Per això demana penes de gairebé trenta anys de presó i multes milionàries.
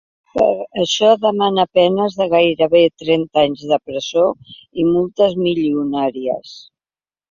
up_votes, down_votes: 1, 3